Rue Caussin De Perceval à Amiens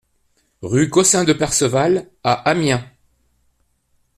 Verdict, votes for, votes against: accepted, 2, 1